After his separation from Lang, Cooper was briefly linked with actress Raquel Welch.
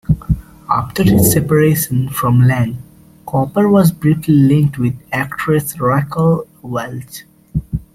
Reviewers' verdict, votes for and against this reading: rejected, 1, 2